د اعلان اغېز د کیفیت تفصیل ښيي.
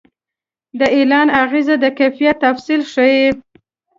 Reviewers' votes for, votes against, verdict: 2, 0, accepted